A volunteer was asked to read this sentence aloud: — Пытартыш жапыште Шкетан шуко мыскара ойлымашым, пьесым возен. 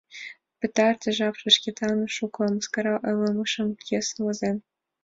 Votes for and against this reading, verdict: 0, 2, rejected